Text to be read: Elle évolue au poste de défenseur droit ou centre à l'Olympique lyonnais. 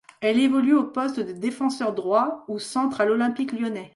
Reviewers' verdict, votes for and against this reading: accepted, 2, 0